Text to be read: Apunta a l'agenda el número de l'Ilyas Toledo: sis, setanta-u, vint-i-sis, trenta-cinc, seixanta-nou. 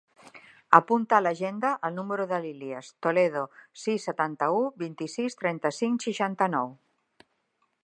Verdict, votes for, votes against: accepted, 2, 0